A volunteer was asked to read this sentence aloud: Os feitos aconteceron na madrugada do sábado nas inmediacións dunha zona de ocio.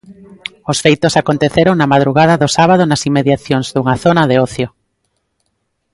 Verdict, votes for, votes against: accepted, 2, 0